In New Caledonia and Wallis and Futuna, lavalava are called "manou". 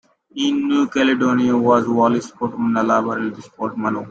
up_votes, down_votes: 1, 2